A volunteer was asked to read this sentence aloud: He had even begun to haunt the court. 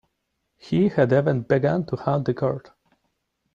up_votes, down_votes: 2, 0